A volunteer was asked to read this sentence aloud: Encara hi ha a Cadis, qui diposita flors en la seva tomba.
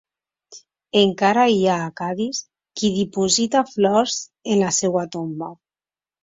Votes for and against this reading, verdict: 2, 0, accepted